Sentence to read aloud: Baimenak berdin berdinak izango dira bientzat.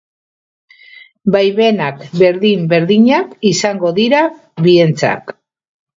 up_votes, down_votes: 0, 2